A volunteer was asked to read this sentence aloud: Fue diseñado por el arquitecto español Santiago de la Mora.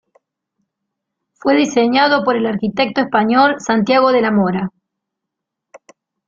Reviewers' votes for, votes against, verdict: 3, 0, accepted